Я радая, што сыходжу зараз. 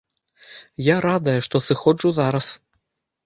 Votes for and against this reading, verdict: 2, 0, accepted